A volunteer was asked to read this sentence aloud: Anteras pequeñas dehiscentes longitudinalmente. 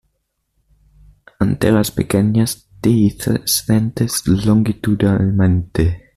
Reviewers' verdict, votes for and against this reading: rejected, 1, 2